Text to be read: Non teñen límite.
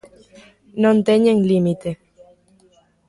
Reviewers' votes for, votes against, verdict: 2, 0, accepted